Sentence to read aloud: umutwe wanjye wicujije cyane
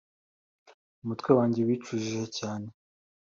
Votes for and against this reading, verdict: 2, 0, accepted